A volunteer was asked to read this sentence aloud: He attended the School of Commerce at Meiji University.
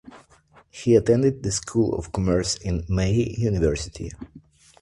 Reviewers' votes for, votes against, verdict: 1, 2, rejected